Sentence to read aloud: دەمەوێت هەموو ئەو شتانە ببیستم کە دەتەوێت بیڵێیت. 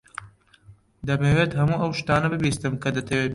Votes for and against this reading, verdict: 0, 2, rejected